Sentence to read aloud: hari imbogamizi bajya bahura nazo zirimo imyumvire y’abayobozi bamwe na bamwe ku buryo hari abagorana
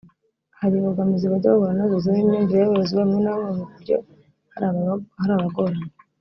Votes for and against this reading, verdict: 0, 2, rejected